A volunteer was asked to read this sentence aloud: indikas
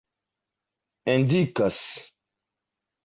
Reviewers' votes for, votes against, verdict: 1, 2, rejected